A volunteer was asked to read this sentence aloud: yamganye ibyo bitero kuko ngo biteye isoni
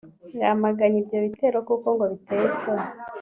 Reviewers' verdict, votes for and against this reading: accepted, 2, 0